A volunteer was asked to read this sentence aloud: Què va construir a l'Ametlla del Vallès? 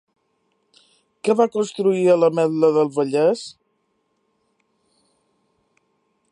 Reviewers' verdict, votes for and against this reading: rejected, 1, 3